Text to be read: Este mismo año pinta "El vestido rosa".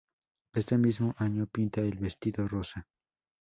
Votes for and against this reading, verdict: 0, 2, rejected